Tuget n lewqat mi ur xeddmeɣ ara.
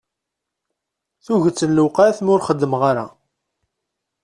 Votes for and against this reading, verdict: 2, 0, accepted